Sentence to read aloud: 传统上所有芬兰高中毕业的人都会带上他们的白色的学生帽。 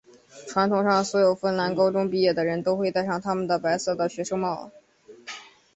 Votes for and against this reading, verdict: 2, 0, accepted